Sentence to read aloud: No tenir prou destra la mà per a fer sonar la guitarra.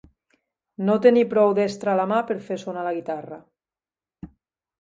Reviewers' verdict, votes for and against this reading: accepted, 2, 1